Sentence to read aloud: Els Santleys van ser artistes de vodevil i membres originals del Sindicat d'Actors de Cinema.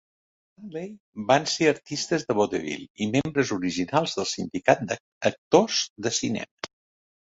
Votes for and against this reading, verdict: 0, 2, rejected